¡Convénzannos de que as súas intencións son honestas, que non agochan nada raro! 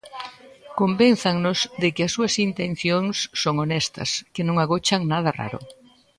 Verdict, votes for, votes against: rejected, 0, 2